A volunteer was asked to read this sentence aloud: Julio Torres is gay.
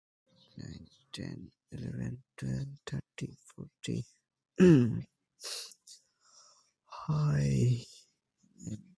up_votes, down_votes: 0, 2